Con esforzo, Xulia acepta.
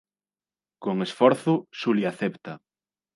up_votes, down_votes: 2, 0